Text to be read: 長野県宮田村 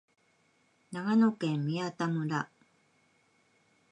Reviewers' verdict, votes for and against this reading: accepted, 2, 0